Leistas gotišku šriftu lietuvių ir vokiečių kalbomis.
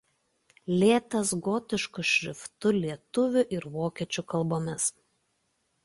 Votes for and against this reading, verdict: 0, 2, rejected